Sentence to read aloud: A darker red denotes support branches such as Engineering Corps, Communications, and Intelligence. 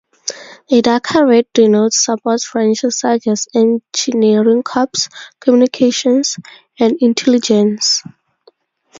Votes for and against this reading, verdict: 2, 0, accepted